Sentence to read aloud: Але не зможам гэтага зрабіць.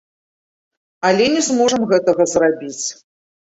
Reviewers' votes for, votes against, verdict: 2, 0, accepted